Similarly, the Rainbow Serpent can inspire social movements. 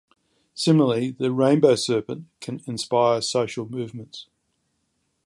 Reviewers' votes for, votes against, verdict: 2, 0, accepted